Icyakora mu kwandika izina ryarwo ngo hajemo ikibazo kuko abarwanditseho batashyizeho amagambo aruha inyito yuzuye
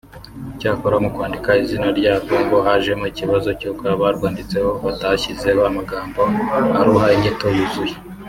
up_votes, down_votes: 1, 2